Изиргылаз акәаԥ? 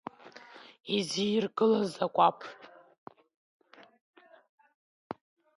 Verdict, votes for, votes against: rejected, 0, 2